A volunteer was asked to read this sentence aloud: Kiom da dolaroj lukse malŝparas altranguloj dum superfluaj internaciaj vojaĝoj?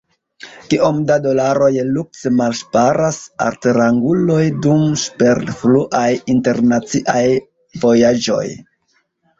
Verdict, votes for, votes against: rejected, 0, 2